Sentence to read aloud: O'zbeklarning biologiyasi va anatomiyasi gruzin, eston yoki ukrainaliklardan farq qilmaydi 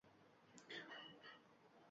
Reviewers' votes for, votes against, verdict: 1, 2, rejected